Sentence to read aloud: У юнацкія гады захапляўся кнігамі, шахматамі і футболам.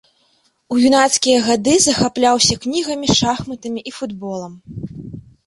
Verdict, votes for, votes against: accepted, 2, 1